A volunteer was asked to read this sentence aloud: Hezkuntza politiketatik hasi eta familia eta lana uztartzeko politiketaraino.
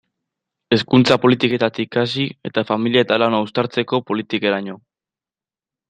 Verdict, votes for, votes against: rejected, 0, 2